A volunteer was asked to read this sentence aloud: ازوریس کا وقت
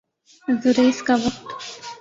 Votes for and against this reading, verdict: 2, 0, accepted